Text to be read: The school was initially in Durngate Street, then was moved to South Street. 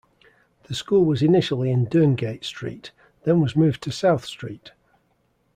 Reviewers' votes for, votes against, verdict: 2, 0, accepted